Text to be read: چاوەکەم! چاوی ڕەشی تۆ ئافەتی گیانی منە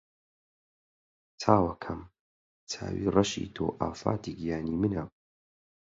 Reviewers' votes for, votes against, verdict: 0, 4, rejected